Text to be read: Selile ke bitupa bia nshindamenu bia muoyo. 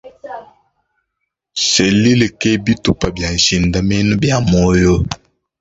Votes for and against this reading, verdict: 2, 0, accepted